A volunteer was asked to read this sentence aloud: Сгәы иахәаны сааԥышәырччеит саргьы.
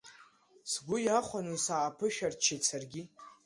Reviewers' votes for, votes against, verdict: 2, 0, accepted